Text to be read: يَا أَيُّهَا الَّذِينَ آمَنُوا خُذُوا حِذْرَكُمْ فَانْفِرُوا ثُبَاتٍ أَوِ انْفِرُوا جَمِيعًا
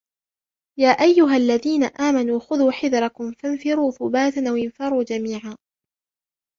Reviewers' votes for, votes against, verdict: 3, 1, accepted